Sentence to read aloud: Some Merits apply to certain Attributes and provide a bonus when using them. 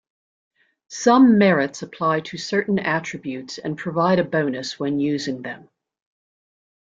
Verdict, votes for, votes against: accepted, 2, 0